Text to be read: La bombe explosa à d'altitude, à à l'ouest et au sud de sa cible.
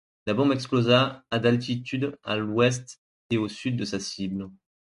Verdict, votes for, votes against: rejected, 1, 2